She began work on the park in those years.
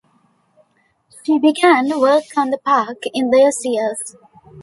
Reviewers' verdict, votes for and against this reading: accepted, 2, 0